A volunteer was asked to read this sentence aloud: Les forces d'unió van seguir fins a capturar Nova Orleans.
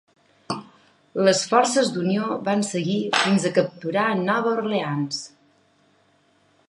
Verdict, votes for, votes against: accepted, 3, 1